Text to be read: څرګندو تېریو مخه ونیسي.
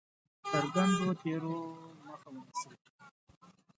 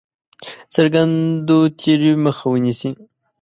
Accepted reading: second